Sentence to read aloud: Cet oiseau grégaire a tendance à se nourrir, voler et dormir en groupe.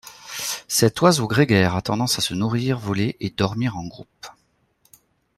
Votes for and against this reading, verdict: 2, 0, accepted